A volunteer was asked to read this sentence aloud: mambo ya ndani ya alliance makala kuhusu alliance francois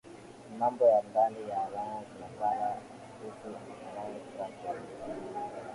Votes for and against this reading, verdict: 2, 5, rejected